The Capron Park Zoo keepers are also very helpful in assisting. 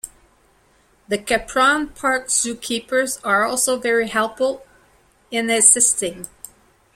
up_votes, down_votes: 2, 1